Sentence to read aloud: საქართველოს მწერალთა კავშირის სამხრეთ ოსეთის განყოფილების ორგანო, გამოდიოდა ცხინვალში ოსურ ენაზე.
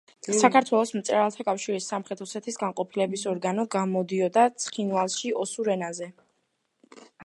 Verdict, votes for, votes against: accepted, 2, 0